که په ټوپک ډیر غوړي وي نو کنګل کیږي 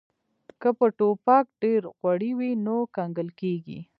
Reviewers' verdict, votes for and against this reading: rejected, 1, 2